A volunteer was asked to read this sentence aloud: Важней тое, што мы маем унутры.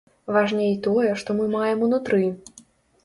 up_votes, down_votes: 2, 0